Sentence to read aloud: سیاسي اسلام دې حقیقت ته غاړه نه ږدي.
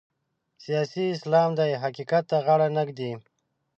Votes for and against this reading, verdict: 1, 2, rejected